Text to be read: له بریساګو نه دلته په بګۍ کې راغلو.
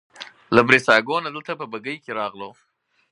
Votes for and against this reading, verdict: 4, 0, accepted